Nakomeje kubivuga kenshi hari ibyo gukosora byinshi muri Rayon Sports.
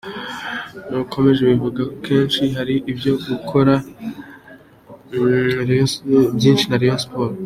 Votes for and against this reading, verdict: 2, 0, accepted